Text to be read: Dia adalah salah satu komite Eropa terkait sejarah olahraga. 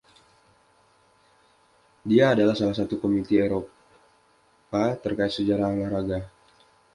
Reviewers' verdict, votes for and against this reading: accepted, 2, 0